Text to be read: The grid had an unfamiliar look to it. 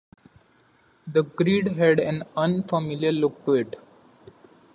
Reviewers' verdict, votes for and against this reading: accepted, 2, 1